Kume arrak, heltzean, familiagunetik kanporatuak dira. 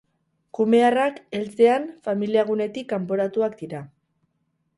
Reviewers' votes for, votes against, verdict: 2, 0, accepted